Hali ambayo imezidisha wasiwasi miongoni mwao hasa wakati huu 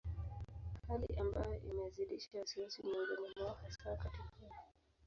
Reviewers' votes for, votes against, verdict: 1, 2, rejected